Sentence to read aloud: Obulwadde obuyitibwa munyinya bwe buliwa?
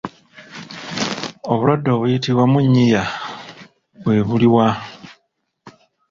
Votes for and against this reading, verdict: 0, 2, rejected